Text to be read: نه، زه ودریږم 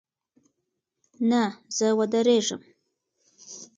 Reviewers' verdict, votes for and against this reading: accepted, 2, 1